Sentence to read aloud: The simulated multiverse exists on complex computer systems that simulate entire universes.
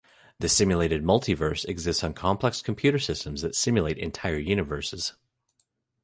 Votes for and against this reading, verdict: 2, 0, accepted